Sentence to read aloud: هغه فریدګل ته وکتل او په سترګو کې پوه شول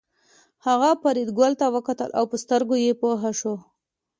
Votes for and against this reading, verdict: 2, 0, accepted